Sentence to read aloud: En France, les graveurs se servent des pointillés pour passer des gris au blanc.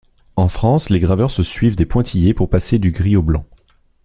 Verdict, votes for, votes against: rejected, 1, 2